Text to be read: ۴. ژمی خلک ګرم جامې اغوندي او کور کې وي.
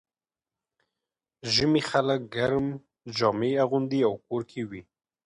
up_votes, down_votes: 0, 2